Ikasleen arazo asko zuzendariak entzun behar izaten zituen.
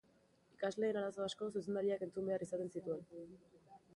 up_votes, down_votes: 0, 2